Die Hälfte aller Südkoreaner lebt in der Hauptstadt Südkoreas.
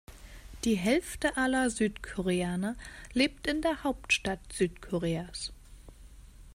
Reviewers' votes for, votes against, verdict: 2, 0, accepted